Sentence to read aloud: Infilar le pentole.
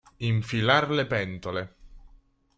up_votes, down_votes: 3, 0